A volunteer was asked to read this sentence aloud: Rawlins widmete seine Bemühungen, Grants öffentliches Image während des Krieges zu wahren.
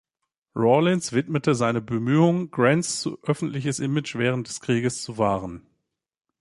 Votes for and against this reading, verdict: 2, 0, accepted